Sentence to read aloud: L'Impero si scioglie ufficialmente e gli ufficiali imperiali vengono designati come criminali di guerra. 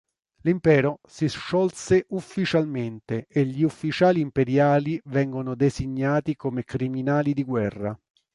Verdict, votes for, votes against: rejected, 0, 2